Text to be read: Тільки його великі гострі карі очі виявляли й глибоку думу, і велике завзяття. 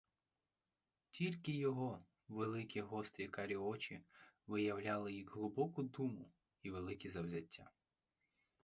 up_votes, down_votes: 4, 0